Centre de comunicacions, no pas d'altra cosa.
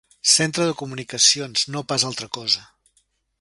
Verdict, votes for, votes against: rejected, 2, 3